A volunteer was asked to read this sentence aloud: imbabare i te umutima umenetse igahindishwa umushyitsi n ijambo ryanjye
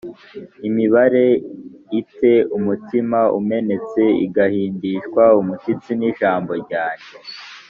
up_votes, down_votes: 1, 2